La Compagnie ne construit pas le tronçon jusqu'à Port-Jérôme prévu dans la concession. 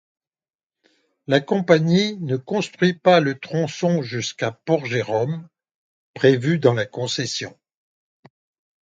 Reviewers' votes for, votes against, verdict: 2, 0, accepted